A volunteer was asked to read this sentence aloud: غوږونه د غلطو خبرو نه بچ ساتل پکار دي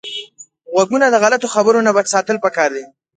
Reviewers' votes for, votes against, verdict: 3, 1, accepted